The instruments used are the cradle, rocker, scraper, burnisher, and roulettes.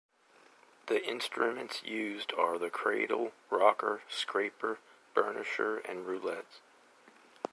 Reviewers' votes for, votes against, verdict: 0, 2, rejected